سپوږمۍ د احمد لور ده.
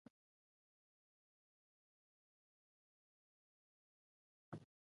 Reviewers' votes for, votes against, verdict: 0, 2, rejected